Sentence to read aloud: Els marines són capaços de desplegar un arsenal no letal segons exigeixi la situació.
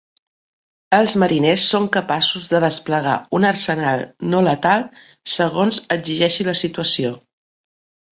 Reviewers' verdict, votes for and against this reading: rejected, 0, 2